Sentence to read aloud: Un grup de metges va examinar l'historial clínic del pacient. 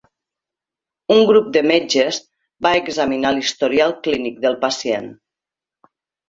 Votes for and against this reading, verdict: 2, 0, accepted